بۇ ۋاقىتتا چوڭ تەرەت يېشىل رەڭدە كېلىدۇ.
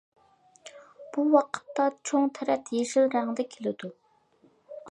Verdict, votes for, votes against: accepted, 2, 0